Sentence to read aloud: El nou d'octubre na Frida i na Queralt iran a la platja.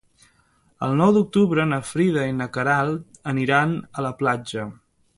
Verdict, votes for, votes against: rejected, 1, 2